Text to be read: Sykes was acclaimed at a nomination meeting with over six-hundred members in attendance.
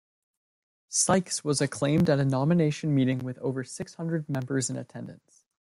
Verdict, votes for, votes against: accepted, 2, 0